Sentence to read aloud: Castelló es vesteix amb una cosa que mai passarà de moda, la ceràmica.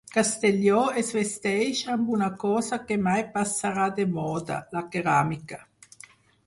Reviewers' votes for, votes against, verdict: 2, 4, rejected